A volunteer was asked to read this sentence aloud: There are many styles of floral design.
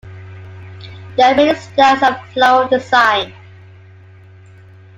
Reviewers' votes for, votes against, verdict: 1, 2, rejected